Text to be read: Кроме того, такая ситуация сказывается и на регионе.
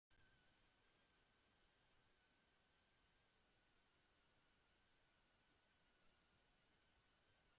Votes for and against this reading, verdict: 0, 2, rejected